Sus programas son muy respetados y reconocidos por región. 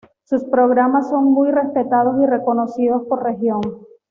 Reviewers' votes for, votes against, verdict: 2, 0, accepted